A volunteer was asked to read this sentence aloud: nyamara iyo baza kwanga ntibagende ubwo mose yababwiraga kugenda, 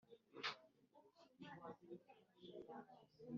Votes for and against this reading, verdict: 0, 2, rejected